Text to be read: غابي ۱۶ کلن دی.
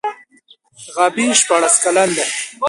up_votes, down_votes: 0, 2